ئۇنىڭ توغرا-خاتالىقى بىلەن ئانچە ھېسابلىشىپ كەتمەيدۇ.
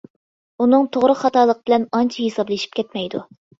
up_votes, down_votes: 2, 0